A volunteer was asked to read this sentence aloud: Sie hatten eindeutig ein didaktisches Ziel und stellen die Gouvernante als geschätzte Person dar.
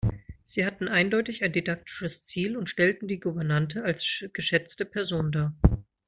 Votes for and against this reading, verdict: 1, 2, rejected